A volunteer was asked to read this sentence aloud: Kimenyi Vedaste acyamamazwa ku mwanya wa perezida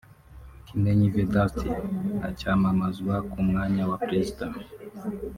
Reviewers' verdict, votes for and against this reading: rejected, 0, 2